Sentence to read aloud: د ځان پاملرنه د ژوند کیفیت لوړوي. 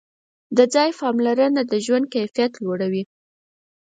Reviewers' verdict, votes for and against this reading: rejected, 2, 4